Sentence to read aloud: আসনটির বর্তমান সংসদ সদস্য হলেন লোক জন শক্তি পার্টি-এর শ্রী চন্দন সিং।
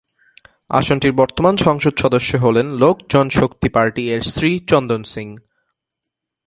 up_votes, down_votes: 5, 0